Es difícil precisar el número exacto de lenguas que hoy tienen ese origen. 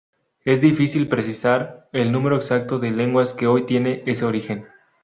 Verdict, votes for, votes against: rejected, 0, 2